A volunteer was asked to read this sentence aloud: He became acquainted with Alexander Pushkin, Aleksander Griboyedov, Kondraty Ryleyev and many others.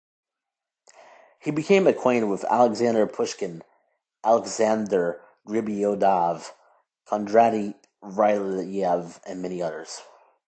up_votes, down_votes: 2, 1